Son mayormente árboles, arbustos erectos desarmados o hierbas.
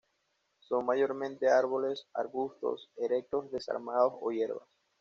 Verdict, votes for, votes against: accepted, 2, 0